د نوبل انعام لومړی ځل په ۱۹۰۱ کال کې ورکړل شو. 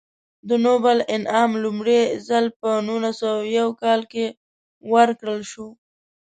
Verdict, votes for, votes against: rejected, 0, 2